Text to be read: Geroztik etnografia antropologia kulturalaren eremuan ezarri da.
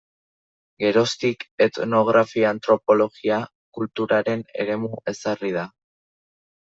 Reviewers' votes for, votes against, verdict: 0, 2, rejected